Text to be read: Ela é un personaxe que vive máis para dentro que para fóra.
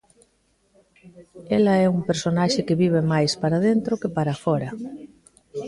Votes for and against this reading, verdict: 2, 1, accepted